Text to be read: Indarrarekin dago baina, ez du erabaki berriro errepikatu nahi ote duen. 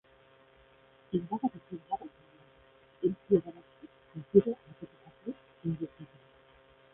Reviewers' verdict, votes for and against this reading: rejected, 0, 4